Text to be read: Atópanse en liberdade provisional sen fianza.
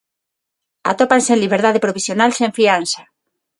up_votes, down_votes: 6, 0